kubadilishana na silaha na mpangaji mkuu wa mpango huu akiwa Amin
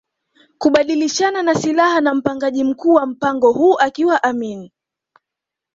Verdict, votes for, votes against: accepted, 2, 0